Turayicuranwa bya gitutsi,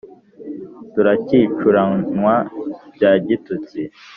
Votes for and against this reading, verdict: 1, 2, rejected